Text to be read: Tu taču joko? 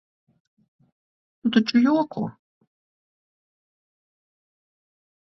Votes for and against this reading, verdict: 4, 6, rejected